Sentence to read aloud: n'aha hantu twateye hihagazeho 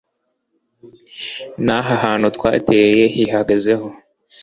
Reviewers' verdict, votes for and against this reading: accepted, 2, 0